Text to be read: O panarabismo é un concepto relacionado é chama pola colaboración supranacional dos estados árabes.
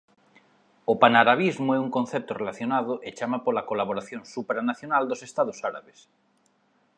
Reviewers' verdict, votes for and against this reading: accepted, 2, 0